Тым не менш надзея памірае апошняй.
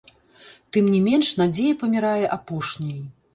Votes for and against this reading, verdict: 1, 2, rejected